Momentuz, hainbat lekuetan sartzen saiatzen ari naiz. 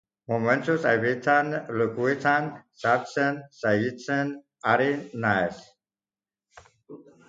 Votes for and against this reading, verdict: 0, 2, rejected